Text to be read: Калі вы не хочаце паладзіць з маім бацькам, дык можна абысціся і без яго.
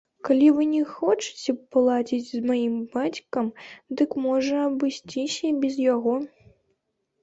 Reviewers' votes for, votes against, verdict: 1, 2, rejected